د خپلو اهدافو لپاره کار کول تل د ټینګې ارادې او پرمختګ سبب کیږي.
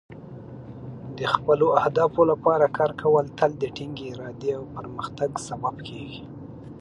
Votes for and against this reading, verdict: 2, 0, accepted